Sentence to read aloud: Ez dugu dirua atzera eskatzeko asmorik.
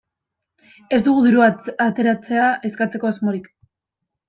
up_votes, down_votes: 0, 2